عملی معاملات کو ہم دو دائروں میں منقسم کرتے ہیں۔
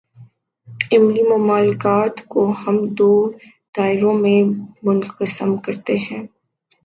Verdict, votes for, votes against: accepted, 4, 3